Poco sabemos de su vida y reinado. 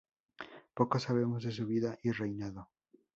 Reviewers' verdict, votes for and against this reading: rejected, 0, 2